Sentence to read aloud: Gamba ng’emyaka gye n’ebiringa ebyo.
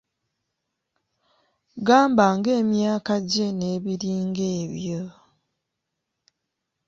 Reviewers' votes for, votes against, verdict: 2, 0, accepted